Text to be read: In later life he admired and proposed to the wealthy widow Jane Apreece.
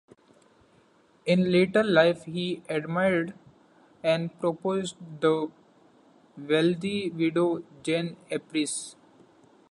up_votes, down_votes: 0, 2